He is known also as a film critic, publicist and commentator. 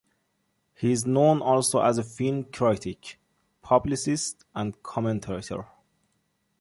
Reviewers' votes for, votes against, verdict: 2, 0, accepted